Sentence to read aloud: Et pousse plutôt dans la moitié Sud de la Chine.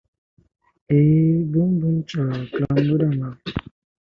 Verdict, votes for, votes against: rejected, 0, 2